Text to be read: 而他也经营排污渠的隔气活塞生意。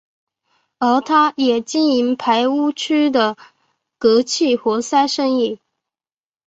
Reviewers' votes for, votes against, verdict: 3, 0, accepted